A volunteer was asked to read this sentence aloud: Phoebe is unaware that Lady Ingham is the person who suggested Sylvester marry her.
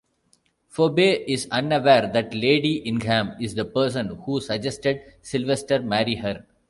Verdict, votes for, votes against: rejected, 0, 2